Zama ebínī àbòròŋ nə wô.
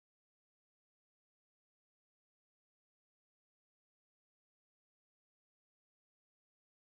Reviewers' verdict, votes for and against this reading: rejected, 0, 2